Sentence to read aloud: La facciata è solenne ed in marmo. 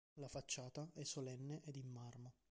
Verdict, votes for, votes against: rejected, 0, 2